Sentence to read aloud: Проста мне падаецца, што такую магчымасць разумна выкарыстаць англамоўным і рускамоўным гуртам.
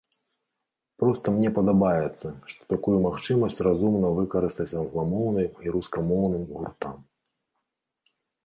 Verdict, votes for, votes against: rejected, 0, 2